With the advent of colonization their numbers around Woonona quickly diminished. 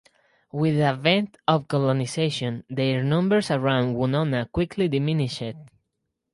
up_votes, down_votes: 0, 2